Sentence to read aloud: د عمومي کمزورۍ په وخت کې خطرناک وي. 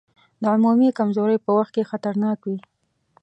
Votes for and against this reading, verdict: 2, 0, accepted